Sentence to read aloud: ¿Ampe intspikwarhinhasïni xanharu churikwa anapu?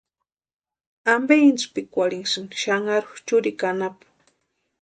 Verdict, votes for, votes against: accepted, 2, 0